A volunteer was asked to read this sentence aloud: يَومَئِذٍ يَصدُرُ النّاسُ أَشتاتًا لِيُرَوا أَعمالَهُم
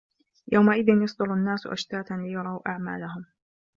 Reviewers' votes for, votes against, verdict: 2, 1, accepted